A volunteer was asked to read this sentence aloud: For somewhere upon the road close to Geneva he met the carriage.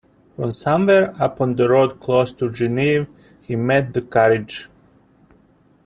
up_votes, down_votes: 0, 2